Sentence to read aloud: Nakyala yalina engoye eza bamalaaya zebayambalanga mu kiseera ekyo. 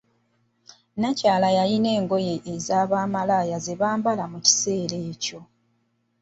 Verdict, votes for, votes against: rejected, 1, 2